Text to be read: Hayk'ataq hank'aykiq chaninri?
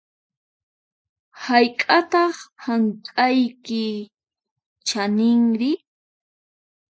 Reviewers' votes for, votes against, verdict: 0, 4, rejected